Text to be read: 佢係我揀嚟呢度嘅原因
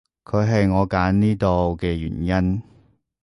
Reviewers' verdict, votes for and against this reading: rejected, 0, 2